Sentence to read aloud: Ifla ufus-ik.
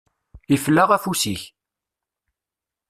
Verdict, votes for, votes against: rejected, 0, 2